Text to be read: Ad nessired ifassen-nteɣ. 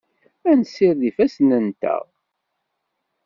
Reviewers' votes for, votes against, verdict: 2, 0, accepted